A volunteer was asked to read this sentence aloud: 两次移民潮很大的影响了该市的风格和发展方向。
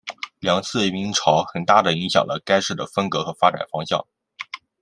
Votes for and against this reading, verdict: 2, 0, accepted